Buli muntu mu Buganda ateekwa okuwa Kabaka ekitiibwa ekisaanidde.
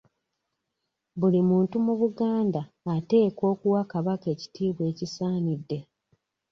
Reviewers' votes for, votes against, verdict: 2, 0, accepted